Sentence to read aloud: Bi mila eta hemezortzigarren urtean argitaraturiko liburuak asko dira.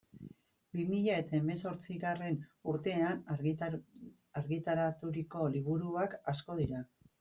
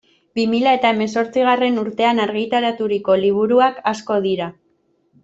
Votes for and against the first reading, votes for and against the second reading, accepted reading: 1, 2, 2, 0, second